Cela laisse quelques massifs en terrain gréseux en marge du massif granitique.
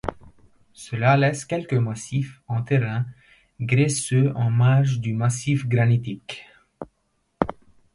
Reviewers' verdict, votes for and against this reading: rejected, 0, 2